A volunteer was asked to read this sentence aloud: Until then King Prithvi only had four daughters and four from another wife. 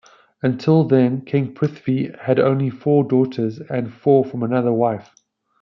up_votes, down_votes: 2, 1